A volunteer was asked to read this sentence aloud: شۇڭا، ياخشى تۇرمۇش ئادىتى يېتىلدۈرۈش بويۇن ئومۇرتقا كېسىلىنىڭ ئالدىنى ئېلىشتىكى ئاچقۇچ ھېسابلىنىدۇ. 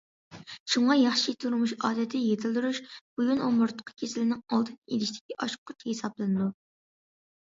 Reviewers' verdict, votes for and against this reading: accepted, 2, 0